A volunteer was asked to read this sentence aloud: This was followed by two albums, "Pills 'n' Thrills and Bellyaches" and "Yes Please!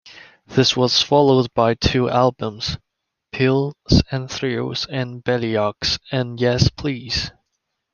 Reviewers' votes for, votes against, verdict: 2, 1, accepted